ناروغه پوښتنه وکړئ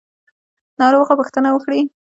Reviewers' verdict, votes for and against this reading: accepted, 2, 0